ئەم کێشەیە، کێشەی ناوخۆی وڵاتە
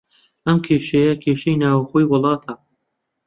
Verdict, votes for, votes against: accepted, 2, 0